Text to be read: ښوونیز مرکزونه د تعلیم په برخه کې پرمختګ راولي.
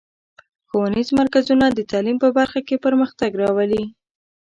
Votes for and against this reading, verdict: 2, 0, accepted